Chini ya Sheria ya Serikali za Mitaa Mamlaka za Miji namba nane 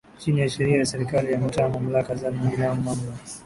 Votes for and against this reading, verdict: 2, 0, accepted